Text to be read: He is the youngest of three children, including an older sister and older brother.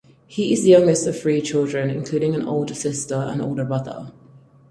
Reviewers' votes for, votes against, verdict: 4, 0, accepted